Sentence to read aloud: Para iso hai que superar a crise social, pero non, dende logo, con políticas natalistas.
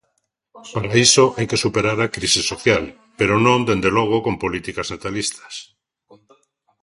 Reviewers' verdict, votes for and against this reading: accepted, 2, 0